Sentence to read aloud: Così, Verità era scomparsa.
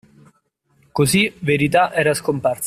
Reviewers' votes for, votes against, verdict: 0, 2, rejected